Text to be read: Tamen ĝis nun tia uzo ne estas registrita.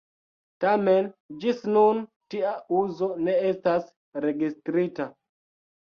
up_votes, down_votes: 2, 0